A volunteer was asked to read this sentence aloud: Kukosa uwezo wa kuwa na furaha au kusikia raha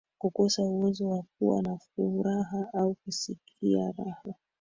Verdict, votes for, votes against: rejected, 2, 3